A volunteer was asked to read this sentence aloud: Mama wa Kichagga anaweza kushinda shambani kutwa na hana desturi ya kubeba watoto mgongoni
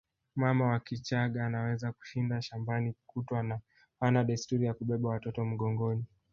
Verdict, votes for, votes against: rejected, 1, 2